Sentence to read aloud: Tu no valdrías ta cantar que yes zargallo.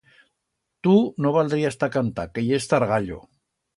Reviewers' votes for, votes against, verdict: 2, 0, accepted